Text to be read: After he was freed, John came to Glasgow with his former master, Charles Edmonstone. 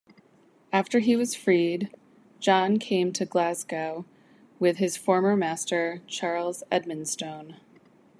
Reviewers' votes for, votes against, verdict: 2, 0, accepted